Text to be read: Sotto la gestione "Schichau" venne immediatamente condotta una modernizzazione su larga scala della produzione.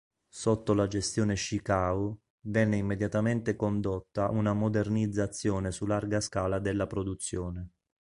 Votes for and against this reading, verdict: 2, 0, accepted